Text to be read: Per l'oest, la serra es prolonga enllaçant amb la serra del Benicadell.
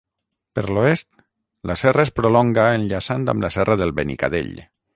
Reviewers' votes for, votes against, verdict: 3, 3, rejected